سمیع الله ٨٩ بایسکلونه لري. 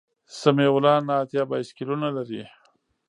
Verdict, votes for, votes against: rejected, 0, 2